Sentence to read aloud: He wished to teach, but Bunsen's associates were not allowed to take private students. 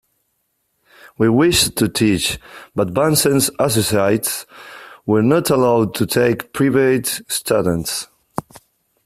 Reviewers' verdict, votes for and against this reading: rejected, 0, 2